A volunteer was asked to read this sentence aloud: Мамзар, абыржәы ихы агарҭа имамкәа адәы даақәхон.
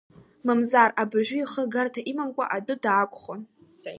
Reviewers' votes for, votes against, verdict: 0, 2, rejected